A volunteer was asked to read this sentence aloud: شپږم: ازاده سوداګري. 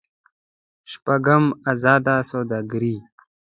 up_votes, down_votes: 2, 0